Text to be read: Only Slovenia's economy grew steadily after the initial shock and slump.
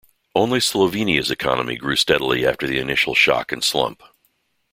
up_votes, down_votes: 2, 0